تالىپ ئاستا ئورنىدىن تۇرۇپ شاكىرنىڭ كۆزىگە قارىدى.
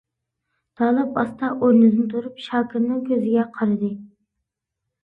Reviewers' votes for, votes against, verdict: 2, 0, accepted